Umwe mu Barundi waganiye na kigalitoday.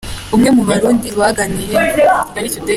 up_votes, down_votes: 2, 1